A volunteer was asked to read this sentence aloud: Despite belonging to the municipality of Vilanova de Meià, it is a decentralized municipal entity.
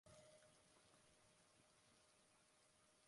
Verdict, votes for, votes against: rejected, 1, 2